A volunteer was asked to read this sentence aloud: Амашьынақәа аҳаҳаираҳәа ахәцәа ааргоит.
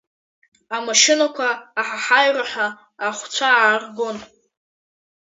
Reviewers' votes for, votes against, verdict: 1, 2, rejected